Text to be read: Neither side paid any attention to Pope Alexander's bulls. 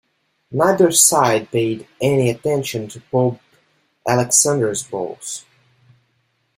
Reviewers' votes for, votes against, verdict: 3, 2, accepted